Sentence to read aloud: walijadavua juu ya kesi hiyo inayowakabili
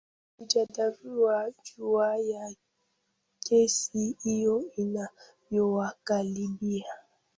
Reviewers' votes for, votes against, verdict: 1, 2, rejected